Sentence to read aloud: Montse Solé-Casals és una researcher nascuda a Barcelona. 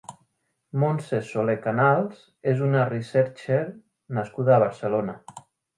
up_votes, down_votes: 0, 3